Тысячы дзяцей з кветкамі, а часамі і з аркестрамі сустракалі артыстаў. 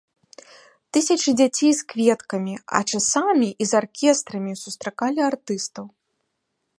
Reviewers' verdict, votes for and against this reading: accepted, 2, 0